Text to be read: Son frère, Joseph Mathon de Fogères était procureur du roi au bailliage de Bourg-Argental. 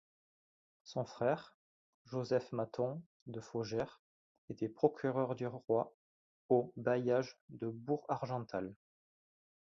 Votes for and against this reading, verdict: 1, 2, rejected